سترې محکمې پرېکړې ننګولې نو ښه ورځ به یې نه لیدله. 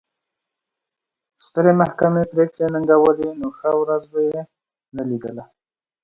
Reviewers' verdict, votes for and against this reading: accepted, 2, 0